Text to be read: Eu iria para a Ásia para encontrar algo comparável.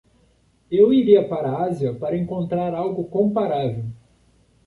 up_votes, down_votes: 2, 0